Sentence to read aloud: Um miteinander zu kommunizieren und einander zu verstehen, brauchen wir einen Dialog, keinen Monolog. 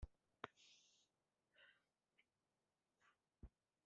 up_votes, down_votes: 0, 2